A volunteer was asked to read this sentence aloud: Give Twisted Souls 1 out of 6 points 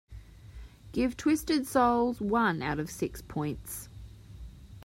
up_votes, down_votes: 0, 2